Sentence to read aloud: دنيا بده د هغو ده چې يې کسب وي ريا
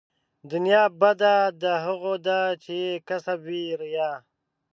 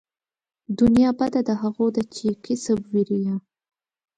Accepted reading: second